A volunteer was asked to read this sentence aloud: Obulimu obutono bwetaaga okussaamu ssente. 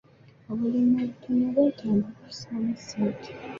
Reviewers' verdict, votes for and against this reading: rejected, 0, 2